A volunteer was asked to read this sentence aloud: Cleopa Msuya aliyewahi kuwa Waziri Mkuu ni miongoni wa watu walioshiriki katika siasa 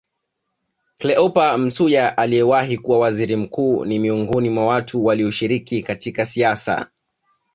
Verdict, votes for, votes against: accepted, 2, 0